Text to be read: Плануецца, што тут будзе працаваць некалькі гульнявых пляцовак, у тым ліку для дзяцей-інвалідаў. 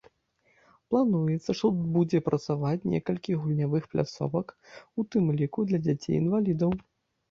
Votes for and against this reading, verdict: 1, 2, rejected